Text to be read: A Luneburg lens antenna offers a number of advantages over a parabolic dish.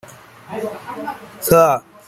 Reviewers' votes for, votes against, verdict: 0, 2, rejected